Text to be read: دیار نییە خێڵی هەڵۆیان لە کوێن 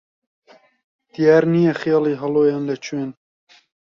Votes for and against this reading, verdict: 2, 0, accepted